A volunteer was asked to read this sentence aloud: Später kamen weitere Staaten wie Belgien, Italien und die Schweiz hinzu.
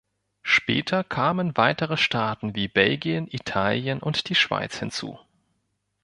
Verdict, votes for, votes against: accepted, 3, 0